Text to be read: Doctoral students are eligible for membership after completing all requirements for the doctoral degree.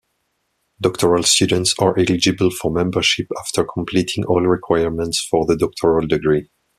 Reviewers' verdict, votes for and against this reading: rejected, 0, 2